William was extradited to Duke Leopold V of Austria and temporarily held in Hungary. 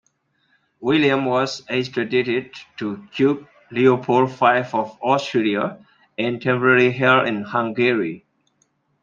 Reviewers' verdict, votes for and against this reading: rejected, 0, 2